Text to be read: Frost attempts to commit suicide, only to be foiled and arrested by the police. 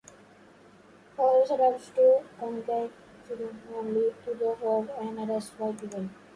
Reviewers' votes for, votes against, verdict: 0, 2, rejected